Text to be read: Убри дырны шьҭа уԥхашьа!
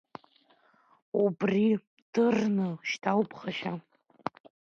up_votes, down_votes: 2, 0